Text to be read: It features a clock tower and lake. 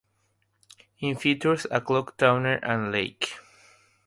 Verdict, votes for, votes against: rejected, 0, 3